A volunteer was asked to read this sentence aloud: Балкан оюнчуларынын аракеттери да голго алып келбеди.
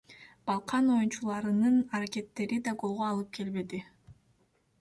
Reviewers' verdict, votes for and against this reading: accepted, 2, 1